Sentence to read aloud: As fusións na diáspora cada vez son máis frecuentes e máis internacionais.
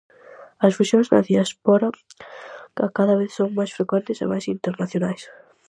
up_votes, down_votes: 0, 4